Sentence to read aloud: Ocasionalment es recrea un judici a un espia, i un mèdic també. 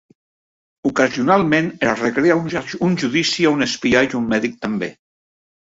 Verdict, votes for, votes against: rejected, 0, 2